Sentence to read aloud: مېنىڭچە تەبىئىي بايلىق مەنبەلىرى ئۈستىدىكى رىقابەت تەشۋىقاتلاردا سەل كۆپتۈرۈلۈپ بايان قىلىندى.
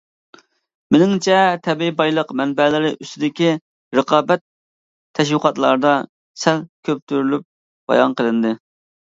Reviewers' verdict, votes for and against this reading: accepted, 2, 0